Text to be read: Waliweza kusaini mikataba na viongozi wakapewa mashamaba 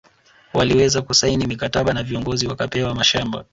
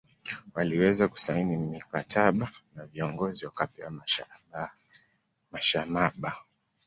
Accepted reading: first